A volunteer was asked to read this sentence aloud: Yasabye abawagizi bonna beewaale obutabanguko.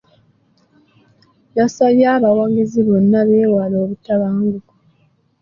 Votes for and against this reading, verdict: 1, 2, rejected